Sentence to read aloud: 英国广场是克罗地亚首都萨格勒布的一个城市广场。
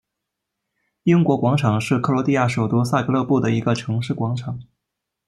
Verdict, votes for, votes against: accepted, 2, 0